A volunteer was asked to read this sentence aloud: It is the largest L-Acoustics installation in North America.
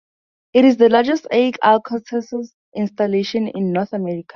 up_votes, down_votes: 0, 4